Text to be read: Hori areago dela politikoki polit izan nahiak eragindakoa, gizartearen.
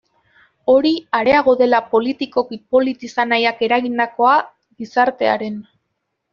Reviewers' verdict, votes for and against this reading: accepted, 2, 1